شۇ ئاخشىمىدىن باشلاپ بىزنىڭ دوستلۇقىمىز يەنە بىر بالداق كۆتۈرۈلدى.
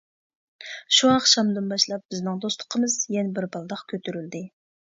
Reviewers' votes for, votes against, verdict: 0, 2, rejected